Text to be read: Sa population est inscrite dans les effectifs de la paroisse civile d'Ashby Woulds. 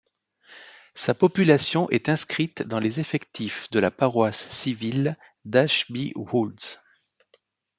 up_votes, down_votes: 2, 0